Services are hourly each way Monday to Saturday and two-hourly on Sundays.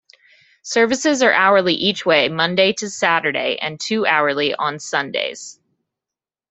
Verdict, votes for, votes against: rejected, 1, 2